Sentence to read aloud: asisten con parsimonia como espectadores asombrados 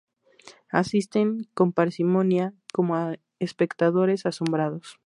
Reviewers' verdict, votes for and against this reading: accepted, 2, 0